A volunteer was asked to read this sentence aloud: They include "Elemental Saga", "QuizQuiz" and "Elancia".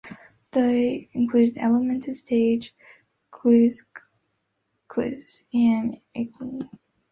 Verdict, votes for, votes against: rejected, 0, 2